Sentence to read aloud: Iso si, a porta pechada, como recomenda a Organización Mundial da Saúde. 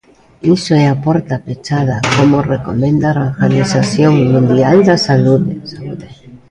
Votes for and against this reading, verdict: 0, 2, rejected